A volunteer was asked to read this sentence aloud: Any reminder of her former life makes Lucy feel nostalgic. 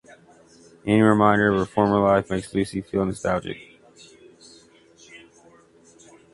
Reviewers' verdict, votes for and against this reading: accepted, 2, 1